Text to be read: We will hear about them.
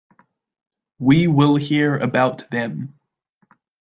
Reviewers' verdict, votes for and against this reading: accepted, 2, 0